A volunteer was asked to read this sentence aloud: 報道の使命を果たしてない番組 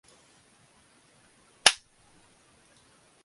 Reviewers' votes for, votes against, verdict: 0, 2, rejected